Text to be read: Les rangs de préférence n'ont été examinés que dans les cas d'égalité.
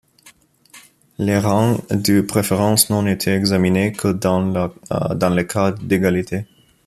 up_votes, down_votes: 1, 2